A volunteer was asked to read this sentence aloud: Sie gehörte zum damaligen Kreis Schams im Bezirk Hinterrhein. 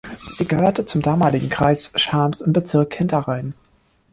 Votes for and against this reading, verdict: 2, 0, accepted